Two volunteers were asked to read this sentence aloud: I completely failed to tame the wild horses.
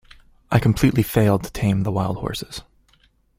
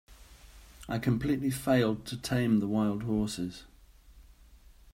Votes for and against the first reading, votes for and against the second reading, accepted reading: 2, 0, 1, 2, first